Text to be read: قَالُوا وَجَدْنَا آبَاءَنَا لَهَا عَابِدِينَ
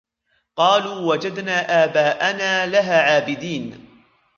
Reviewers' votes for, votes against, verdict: 1, 2, rejected